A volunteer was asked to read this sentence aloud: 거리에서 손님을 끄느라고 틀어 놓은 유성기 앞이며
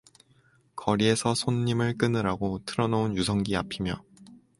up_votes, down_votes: 2, 0